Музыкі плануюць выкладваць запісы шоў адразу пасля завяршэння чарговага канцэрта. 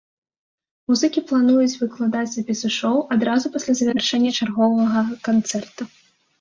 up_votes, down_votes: 1, 2